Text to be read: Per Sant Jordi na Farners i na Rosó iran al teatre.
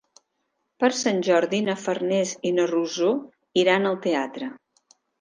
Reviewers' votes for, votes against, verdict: 2, 0, accepted